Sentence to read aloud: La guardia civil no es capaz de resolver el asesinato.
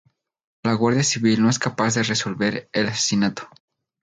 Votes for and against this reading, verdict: 2, 0, accepted